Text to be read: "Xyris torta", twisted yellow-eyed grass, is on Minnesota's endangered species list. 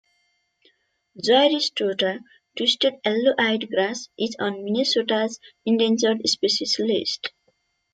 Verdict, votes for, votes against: rejected, 0, 2